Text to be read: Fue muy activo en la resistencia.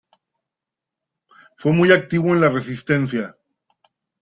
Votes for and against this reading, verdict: 2, 0, accepted